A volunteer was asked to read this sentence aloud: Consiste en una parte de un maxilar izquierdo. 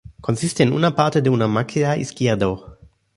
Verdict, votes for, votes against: rejected, 0, 2